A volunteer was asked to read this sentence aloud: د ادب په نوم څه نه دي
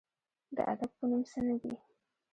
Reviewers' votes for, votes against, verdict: 1, 2, rejected